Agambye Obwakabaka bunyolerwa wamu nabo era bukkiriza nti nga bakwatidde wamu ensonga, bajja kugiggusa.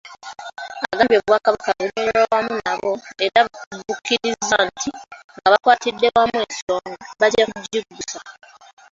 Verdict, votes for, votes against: rejected, 0, 2